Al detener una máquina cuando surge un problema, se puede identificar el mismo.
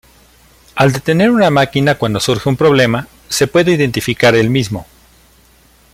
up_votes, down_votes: 2, 0